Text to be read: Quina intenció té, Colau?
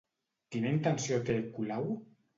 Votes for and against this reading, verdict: 2, 0, accepted